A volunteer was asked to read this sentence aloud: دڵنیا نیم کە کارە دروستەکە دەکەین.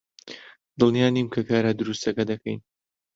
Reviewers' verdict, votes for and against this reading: accepted, 2, 0